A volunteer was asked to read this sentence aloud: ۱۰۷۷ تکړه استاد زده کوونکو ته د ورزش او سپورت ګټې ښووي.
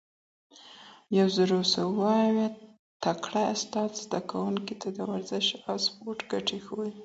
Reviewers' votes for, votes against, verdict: 0, 2, rejected